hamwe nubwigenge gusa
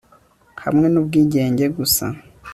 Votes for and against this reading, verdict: 3, 0, accepted